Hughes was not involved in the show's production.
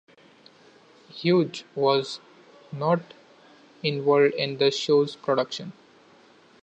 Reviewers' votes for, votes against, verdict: 1, 2, rejected